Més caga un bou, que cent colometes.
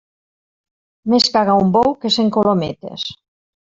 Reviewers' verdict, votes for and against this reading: accepted, 3, 0